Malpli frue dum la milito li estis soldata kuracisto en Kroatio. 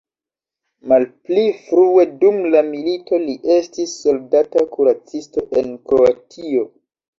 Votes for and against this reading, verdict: 2, 1, accepted